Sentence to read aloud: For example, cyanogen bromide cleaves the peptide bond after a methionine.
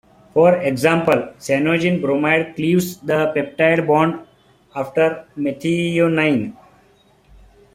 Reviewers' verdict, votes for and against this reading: accepted, 2, 0